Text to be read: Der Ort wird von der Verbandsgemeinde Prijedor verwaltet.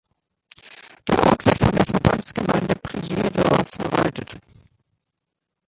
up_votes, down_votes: 0, 2